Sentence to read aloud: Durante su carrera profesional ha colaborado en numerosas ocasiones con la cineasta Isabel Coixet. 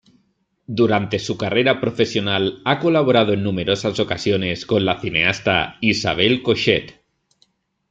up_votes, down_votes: 2, 0